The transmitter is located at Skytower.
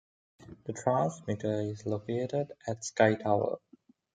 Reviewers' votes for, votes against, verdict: 2, 0, accepted